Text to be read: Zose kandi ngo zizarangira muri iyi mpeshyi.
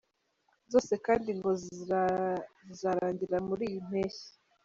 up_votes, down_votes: 0, 2